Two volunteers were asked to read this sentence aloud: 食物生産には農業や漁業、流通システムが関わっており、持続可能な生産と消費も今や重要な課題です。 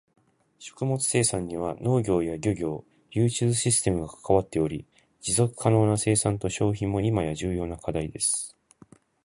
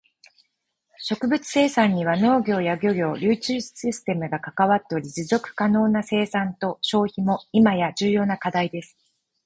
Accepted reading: second